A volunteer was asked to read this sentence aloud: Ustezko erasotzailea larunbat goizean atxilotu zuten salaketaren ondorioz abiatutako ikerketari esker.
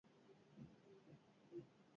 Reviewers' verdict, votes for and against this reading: rejected, 0, 4